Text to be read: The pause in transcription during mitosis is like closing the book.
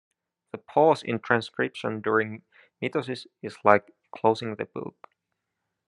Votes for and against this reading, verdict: 1, 2, rejected